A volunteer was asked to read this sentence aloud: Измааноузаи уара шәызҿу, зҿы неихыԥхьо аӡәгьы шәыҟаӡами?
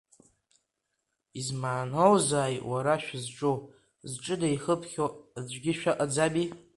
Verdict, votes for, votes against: accepted, 2, 1